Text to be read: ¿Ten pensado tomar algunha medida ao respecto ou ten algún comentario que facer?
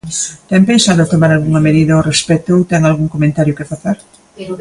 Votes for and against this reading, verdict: 2, 0, accepted